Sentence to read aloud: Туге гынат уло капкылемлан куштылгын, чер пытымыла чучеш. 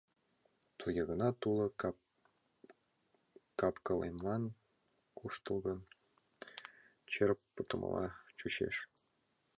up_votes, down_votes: 0, 2